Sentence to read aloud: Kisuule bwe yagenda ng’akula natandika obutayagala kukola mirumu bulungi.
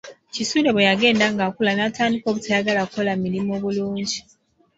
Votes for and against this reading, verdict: 2, 0, accepted